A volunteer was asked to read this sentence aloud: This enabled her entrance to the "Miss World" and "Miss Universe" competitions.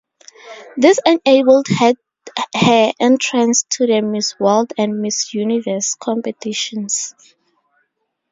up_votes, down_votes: 0, 2